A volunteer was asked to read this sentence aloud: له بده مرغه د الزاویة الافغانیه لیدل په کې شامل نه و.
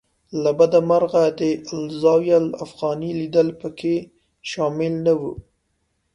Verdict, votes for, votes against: accepted, 2, 0